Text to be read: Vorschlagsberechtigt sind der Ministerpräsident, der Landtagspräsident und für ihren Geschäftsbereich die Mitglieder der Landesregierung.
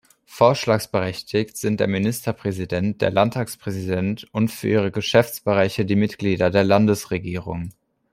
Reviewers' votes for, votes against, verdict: 1, 2, rejected